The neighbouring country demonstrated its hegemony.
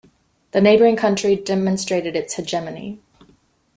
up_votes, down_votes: 2, 0